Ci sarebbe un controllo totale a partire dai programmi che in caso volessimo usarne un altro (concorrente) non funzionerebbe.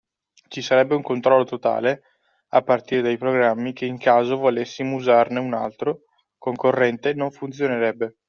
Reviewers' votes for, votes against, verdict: 2, 0, accepted